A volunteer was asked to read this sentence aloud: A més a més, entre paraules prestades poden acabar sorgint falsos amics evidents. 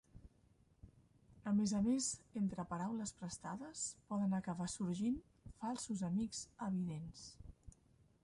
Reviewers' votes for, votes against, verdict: 0, 2, rejected